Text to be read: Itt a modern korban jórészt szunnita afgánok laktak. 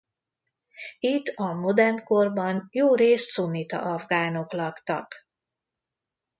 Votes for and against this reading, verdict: 2, 0, accepted